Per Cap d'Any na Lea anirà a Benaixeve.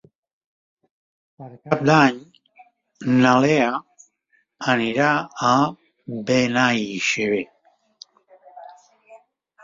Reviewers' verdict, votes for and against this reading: rejected, 0, 3